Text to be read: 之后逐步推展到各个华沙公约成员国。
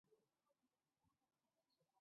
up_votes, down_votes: 1, 2